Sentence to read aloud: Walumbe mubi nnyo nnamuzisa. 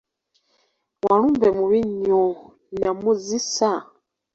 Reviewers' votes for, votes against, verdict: 0, 3, rejected